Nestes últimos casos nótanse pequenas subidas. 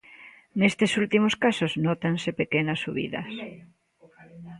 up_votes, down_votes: 1, 2